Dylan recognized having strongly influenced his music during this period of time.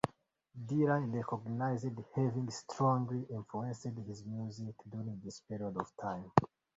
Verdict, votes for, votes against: rejected, 2, 3